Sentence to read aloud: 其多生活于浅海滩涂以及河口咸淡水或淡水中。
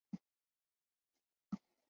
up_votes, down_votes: 0, 2